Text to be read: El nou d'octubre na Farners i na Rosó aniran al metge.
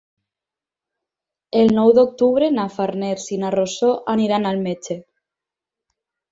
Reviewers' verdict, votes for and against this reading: accepted, 4, 0